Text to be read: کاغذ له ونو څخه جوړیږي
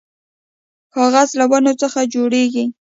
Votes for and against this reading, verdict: 2, 0, accepted